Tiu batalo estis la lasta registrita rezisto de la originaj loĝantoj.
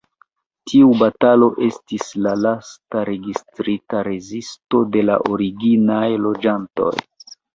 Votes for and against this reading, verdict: 0, 2, rejected